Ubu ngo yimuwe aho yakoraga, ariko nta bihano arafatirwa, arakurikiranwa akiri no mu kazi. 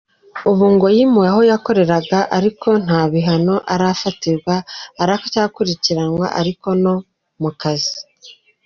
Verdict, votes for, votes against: rejected, 1, 2